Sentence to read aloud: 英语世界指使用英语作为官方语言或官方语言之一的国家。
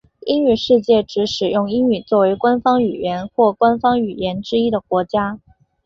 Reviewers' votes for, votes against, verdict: 2, 2, rejected